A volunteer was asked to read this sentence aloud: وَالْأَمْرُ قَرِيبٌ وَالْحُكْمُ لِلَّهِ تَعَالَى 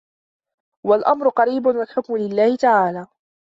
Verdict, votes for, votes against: accepted, 2, 0